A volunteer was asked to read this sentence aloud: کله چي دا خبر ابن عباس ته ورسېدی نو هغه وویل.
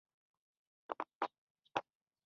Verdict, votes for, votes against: rejected, 0, 2